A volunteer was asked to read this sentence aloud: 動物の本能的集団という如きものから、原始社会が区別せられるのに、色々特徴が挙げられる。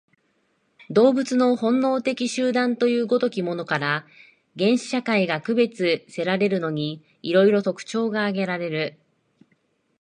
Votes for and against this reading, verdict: 3, 0, accepted